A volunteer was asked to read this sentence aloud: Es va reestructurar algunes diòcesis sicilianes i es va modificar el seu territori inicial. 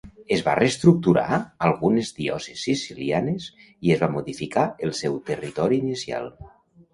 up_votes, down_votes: 0, 2